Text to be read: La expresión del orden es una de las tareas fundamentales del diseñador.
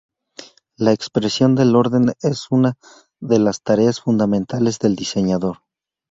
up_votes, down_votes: 2, 2